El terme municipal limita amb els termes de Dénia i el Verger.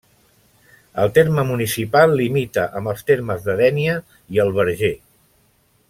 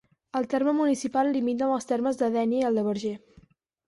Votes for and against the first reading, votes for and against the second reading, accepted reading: 2, 0, 2, 6, first